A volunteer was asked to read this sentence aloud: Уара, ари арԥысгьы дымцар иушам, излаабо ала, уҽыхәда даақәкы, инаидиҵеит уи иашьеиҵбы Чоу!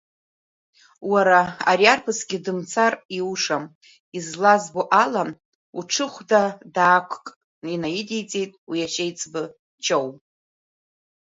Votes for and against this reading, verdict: 1, 2, rejected